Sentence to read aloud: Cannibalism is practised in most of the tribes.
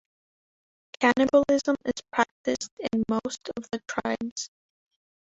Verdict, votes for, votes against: rejected, 1, 2